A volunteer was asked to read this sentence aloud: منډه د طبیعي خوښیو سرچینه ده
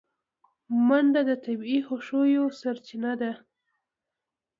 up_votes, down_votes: 2, 1